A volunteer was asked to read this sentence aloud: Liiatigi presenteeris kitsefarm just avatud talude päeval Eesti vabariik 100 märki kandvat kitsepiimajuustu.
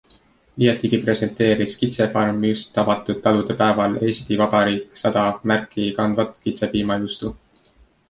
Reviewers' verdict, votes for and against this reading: rejected, 0, 2